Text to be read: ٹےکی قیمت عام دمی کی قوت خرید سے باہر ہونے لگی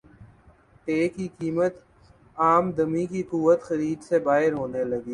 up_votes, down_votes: 3, 0